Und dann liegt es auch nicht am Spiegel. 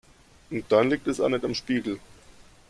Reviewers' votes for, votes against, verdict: 2, 1, accepted